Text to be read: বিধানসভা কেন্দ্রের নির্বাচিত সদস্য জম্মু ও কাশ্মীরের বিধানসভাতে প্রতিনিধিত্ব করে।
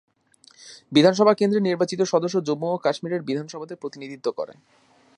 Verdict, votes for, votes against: rejected, 1, 2